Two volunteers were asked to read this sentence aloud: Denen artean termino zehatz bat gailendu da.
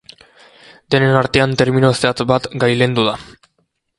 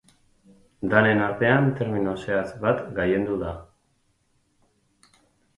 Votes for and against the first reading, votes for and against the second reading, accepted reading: 2, 0, 2, 4, first